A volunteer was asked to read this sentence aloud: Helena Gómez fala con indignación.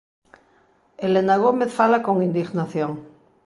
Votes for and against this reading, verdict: 2, 0, accepted